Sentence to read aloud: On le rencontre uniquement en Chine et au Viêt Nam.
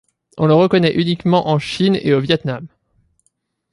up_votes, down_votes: 1, 2